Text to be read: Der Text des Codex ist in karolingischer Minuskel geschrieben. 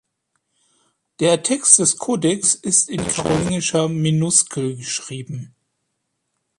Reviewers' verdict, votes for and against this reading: rejected, 2, 3